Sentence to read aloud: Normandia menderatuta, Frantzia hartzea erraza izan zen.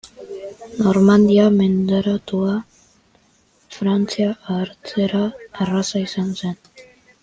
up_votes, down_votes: 1, 2